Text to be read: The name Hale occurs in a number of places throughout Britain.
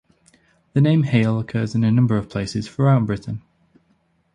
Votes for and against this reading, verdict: 0, 2, rejected